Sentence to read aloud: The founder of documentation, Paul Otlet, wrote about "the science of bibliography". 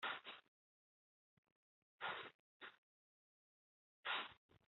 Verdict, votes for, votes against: rejected, 0, 2